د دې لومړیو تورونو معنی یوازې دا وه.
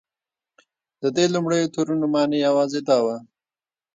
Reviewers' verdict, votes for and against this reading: rejected, 1, 3